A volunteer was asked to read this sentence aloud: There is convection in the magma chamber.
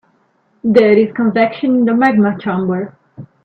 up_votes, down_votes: 1, 2